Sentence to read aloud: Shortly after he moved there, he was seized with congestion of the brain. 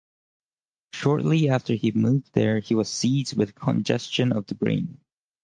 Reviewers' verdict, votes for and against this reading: accepted, 4, 0